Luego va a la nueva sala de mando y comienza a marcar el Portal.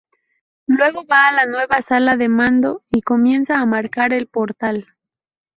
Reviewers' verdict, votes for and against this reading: accepted, 4, 0